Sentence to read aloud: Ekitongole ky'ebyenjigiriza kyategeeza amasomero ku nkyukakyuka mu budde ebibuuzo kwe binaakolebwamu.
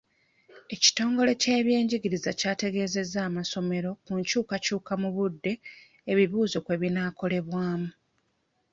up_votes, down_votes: 1, 2